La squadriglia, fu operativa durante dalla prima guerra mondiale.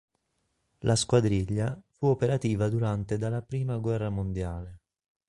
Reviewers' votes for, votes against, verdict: 2, 0, accepted